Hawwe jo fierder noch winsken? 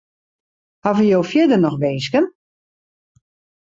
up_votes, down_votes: 2, 0